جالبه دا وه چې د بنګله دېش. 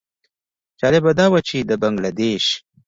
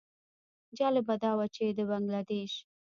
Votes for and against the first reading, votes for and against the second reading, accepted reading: 2, 1, 1, 2, first